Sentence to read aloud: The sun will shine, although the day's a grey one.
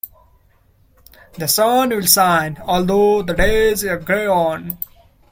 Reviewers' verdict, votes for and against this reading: rejected, 0, 2